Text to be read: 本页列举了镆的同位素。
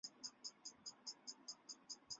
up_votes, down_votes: 0, 4